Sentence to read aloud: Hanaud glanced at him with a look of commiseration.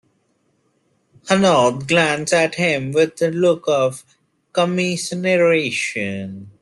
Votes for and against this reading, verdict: 0, 2, rejected